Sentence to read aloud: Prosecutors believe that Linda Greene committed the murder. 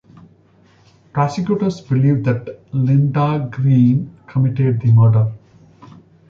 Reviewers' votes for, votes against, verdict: 1, 2, rejected